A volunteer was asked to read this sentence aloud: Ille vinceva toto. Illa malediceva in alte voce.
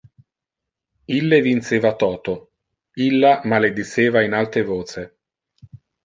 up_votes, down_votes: 2, 0